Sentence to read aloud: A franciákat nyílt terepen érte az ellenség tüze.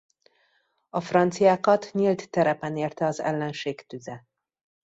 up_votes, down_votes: 2, 0